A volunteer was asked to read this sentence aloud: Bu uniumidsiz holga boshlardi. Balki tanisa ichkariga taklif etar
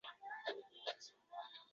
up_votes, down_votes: 0, 2